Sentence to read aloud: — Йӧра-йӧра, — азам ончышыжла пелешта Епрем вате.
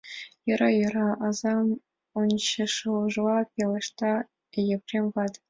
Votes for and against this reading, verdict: 1, 2, rejected